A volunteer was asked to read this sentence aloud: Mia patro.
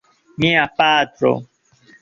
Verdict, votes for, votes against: accepted, 2, 0